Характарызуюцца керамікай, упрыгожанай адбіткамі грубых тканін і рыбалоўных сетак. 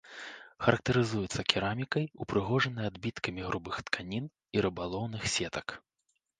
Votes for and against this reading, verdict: 3, 0, accepted